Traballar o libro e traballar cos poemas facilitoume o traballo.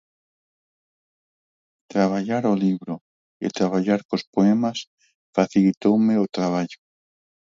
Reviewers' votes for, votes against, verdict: 0, 4, rejected